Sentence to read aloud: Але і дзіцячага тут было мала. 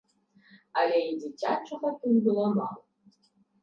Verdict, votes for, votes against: rejected, 1, 2